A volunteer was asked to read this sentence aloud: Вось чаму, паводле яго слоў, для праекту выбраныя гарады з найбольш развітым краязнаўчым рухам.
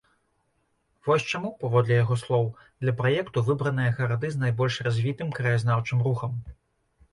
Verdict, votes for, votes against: accepted, 2, 0